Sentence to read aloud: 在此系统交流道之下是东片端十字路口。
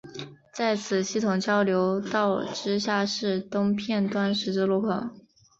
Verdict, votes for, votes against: accepted, 2, 0